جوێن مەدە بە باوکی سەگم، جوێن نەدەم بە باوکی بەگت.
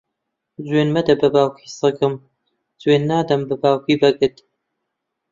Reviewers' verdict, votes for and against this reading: accepted, 2, 1